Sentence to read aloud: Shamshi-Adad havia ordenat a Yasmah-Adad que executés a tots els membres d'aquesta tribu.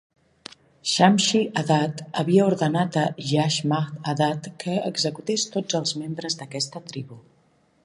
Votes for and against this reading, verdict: 1, 2, rejected